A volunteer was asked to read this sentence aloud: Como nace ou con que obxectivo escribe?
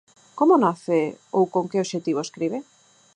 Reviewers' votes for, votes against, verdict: 4, 0, accepted